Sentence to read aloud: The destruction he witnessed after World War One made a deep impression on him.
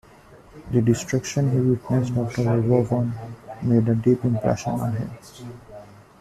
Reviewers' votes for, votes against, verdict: 2, 0, accepted